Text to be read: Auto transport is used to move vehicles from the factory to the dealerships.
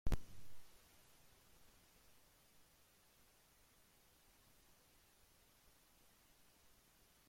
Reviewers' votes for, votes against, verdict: 0, 2, rejected